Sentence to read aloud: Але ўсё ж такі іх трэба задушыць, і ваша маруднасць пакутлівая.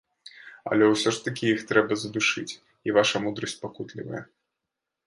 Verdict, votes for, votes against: rejected, 1, 2